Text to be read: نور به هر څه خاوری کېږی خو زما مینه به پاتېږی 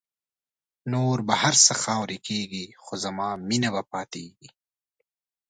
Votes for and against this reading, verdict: 4, 1, accepted